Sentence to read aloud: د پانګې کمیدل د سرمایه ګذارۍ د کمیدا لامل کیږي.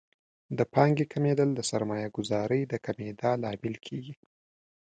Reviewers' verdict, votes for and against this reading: accepted, 2, 0